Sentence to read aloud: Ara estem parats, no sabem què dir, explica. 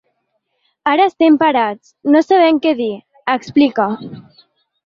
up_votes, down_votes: 3, 0